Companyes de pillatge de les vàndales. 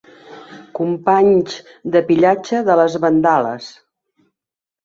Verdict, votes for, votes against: rejected, 0, 2